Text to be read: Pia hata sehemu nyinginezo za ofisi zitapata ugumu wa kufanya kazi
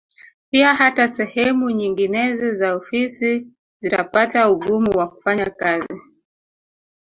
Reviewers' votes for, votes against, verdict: 3, 0, accepted